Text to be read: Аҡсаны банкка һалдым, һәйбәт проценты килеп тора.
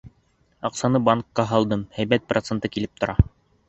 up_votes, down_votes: 2, 0